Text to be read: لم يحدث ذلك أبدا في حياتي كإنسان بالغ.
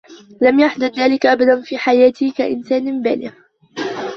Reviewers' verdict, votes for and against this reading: rejected, 0, 2